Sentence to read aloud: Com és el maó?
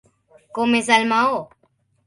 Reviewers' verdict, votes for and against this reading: accepted, 3, 0